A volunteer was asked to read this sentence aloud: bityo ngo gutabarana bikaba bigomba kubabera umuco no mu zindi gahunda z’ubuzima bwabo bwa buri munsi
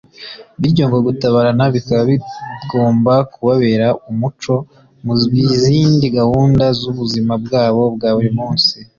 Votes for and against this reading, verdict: 0, 2, rejected